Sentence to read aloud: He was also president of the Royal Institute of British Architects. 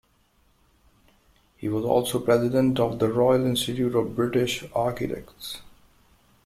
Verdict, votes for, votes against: accepted, 2, 0